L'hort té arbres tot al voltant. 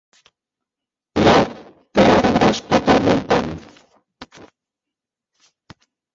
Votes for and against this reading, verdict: 0, 2, rejected